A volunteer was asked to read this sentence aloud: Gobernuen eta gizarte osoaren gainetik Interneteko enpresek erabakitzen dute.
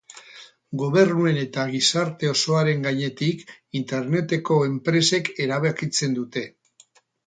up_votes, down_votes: 8, 0